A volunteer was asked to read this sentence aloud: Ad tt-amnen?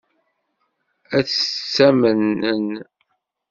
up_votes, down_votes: 0, 2